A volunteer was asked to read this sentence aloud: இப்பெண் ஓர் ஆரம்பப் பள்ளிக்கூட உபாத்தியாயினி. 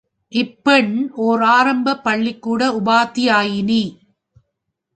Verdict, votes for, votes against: accepted, 3, 0